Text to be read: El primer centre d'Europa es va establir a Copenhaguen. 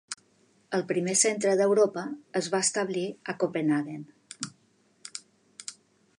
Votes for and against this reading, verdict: 2, 0, accepted